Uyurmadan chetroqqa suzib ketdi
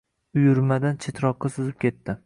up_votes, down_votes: 2, 0